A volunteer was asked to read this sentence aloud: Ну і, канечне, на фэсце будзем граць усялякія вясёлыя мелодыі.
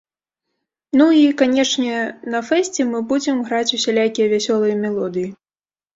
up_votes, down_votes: 1, 2